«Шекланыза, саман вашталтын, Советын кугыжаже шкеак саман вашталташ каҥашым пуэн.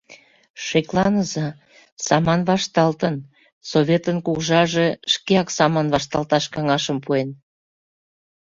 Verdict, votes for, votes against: accepted, 2, 0